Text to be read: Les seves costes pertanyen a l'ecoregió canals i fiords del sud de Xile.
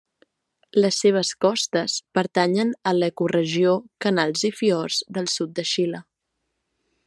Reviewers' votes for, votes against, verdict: 2, 0, accepted